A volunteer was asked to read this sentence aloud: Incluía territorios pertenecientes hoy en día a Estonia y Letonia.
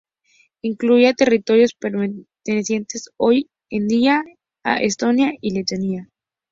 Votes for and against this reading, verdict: 2, 0, accepted